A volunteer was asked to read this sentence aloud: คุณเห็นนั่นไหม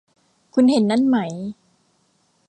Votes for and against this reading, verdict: 2, 0, accepted